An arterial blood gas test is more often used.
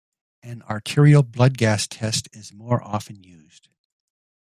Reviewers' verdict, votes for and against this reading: accepted, 2, 0